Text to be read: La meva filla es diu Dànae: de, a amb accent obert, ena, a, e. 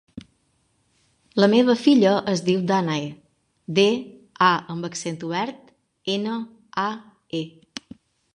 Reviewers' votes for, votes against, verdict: 3, 0, accepted